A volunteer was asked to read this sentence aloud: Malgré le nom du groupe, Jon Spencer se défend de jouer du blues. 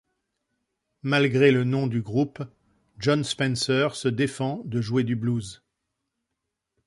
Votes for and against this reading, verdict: 2, 0, accepted